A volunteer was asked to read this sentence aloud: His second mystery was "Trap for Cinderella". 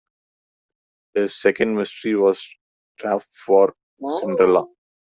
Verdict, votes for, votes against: rejected, 1, 2